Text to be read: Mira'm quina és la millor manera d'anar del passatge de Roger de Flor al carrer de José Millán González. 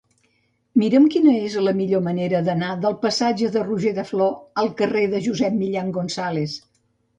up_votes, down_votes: 1, 2